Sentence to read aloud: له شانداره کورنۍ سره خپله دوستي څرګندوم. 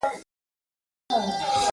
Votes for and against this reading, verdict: 0, 2, rejected